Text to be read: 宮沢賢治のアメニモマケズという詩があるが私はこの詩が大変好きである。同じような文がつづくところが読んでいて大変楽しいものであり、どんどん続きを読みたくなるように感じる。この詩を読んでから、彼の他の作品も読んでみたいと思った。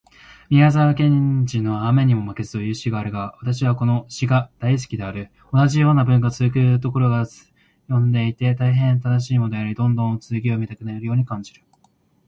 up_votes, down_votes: 2, 1